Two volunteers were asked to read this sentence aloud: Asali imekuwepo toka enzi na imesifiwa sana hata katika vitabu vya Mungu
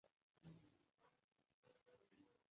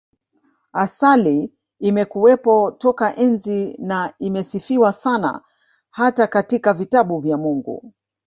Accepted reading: second